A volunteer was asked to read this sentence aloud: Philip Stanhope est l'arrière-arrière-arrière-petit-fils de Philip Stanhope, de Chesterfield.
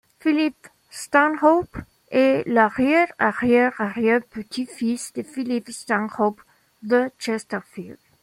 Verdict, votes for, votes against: accepted, 2, 0